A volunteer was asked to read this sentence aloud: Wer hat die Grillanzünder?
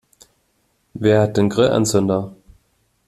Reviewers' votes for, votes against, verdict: 0, 2, rejected